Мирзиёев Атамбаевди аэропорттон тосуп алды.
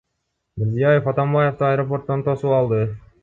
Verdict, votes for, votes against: accepted, 2, 1